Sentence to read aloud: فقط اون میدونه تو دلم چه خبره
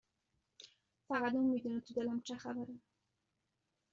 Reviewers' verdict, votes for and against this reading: accepted, 2, 0